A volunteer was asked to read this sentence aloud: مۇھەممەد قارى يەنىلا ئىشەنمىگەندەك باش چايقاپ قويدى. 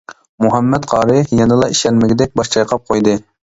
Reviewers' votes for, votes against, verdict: 0, 2, rejected